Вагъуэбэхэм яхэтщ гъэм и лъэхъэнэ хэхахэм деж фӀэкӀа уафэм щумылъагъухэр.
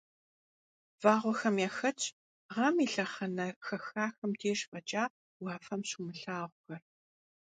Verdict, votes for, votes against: rejected, 0, 2